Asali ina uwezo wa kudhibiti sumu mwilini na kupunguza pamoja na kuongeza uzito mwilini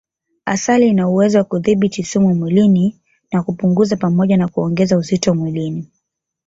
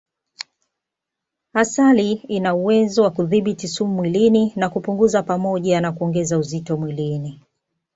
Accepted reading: second